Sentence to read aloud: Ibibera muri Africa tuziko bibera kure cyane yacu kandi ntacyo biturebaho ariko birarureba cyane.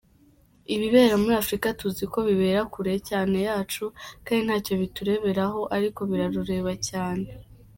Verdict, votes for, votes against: rejected, 1, 2